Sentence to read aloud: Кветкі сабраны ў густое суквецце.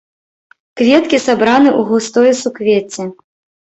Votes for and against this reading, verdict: 2, 0, accepted